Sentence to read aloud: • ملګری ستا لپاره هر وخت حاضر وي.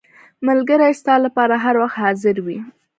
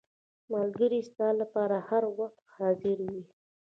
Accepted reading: first